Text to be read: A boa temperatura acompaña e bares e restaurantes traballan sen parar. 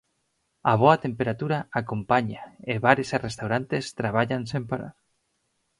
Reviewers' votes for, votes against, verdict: 4, 0, accepted